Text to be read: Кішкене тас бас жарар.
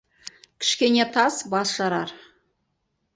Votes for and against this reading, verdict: 2, 2, rejected